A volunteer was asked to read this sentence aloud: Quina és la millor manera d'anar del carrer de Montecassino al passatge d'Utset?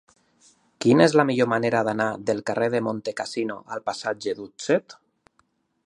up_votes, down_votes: 2, 0